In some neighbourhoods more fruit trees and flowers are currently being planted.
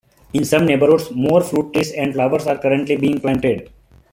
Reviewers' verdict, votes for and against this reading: accepted, 2, 1